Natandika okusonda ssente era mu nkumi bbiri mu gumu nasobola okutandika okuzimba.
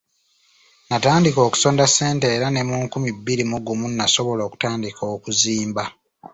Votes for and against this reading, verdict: 1, 2, rejected